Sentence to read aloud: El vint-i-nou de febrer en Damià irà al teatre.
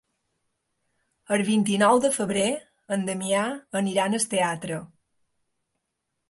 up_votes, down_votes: 0, 2